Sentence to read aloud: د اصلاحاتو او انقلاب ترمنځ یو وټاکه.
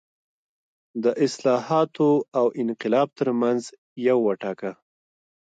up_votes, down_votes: 2, 1